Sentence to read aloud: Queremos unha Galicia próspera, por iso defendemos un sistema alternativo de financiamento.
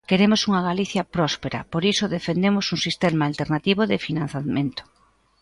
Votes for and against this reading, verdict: 1, 2, rejected